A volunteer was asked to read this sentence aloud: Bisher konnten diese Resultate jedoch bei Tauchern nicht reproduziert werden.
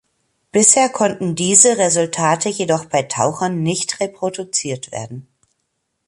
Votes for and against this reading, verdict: 3, 0, accepted